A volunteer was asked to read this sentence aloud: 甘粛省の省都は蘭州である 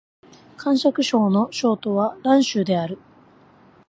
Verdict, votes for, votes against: accepted, 2, 0